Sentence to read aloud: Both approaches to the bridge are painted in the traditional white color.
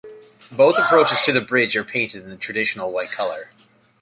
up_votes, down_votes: 2, 1